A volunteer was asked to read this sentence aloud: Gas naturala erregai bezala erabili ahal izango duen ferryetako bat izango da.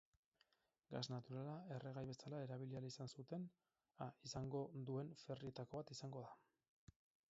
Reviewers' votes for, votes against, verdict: 0, 4, rejected